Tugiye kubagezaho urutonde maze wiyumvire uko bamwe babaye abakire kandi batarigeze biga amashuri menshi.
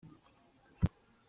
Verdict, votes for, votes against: rejected, 0, 2